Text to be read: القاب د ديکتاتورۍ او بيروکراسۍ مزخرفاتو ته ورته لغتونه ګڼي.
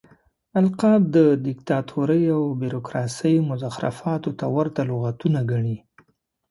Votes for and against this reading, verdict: 2, 0, accepted